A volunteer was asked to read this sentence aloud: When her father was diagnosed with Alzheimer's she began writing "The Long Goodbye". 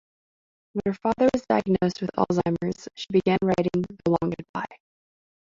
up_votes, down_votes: 0, 2